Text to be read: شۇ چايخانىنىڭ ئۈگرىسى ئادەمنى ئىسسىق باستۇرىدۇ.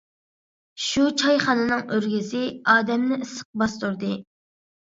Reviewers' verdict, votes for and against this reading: rejected, 1, 2